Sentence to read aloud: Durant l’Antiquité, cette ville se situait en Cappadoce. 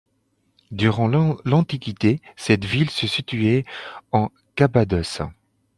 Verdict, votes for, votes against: rejected, 0, 2